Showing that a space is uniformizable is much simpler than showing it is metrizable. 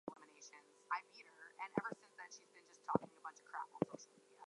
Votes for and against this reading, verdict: 0, 2, rejected